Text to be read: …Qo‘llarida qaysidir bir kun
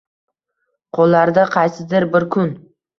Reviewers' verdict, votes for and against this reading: rejected, 1, 2